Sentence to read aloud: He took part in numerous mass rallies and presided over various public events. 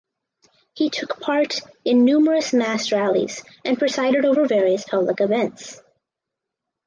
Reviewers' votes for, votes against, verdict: 4, 0, accepted